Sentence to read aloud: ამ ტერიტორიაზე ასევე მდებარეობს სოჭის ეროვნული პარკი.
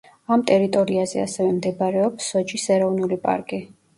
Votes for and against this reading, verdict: 1, 2, rejected